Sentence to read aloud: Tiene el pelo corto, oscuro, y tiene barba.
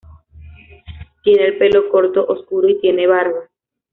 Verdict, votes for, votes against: accepted, 2, 1